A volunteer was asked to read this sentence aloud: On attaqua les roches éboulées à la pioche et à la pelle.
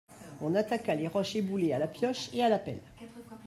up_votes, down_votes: 2, 1